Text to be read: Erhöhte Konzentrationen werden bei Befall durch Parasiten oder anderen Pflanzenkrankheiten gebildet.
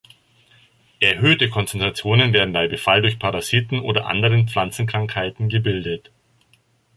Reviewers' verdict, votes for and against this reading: accepted, 2, 0